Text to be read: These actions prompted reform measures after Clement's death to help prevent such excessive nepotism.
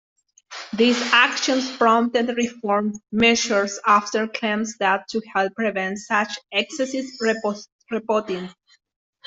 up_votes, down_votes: 0, 2